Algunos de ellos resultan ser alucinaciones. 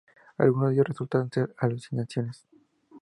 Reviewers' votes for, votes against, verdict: 4, 0, accepted